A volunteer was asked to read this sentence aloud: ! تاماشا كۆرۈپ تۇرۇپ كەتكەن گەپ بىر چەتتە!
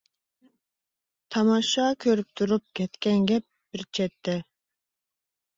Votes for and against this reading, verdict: 2, 0, accepted